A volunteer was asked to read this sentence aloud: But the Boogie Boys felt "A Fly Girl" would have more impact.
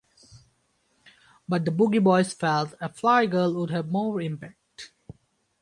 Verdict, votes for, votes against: accepted, 4, 0